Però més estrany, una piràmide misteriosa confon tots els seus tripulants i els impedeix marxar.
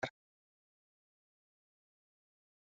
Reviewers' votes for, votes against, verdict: 0, 2, rejected